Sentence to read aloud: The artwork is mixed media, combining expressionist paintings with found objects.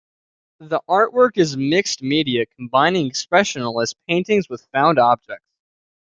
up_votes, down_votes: 1, 2